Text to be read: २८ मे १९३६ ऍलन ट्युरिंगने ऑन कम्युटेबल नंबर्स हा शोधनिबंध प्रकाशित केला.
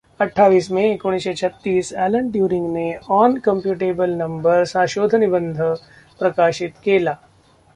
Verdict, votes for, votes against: rejected, 0, 2